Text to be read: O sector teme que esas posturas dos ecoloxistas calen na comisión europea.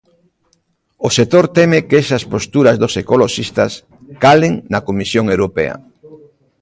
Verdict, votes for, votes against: rejected, 0, 2